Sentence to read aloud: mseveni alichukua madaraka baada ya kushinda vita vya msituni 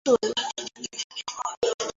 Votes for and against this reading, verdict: 0, 2, rejected